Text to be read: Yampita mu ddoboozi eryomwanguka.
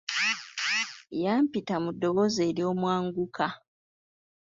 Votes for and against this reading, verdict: 2, 0, accepted